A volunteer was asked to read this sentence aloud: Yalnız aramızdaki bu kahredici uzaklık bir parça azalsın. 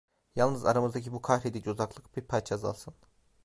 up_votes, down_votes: 2, 0